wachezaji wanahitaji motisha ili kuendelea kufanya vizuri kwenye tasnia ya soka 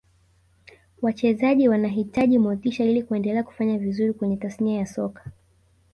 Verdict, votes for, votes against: rejected, 0, 2